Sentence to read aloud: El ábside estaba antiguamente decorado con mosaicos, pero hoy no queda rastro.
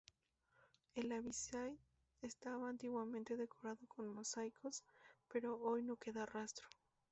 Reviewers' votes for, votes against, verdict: 0, 4, rejected